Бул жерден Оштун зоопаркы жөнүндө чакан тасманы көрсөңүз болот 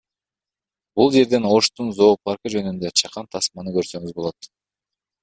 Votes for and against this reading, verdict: 0, 2, rejected